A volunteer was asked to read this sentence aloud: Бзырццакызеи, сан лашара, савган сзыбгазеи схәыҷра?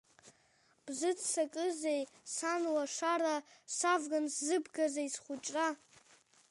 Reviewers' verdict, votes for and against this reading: accepted, 2, 1